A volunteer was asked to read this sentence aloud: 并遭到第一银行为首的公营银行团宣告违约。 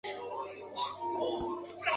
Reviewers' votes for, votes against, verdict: 1, 2, rejected